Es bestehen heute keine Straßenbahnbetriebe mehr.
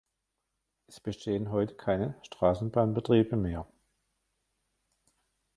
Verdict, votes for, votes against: rejected, 1, 2